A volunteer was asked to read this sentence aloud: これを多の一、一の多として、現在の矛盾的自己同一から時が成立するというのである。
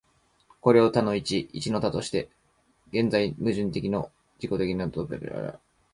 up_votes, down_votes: 0, 2